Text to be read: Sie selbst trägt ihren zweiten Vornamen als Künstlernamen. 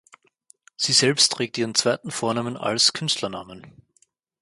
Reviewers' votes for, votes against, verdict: 4, 0, accepted